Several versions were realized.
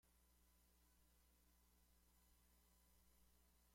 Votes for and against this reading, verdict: 0, 2, rejected